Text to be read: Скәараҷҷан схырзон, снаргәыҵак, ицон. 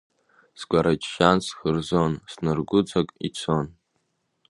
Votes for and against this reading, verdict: 2, 0, accepted